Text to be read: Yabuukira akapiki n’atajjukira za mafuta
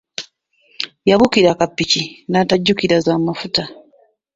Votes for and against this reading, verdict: 1, 2, rejected